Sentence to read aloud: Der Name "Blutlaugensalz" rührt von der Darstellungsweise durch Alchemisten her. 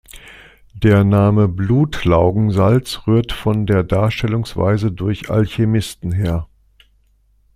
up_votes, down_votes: 2, 0